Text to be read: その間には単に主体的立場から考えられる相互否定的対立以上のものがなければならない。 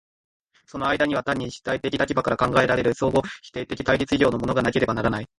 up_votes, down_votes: 1, 2